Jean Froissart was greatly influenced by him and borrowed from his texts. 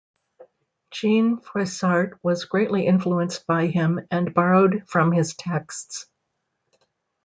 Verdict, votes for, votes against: accepted, 2, 0